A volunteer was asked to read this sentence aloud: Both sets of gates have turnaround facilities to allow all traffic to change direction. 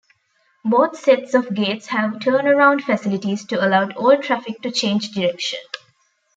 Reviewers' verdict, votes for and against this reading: rejected, 1, 2